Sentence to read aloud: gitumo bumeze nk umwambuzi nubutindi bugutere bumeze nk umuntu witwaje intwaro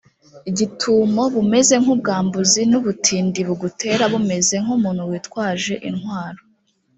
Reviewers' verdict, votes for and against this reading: rejected, 0, 2